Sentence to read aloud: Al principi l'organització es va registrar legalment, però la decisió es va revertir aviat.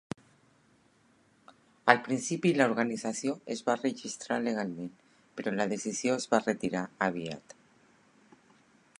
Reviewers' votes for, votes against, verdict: 0, 2, rejected